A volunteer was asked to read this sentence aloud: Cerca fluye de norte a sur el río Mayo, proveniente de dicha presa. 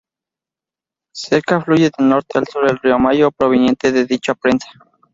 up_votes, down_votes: 0, 2